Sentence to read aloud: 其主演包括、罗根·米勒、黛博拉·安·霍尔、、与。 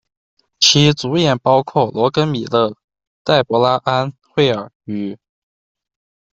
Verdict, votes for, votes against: accepted, 2, 1